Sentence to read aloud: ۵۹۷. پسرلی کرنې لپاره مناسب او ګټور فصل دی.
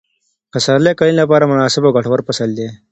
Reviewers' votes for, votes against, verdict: 0, 2, rejected